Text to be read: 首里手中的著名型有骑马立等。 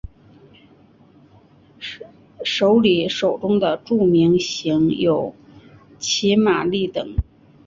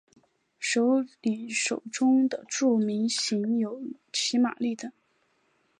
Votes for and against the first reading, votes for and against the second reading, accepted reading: 1, 2, 2, 0, second